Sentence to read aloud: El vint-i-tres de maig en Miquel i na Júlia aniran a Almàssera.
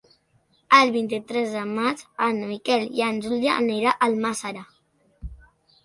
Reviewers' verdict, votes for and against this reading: rejected, 0, 2